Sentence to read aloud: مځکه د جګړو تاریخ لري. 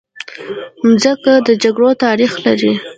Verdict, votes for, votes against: rejected, 1, 2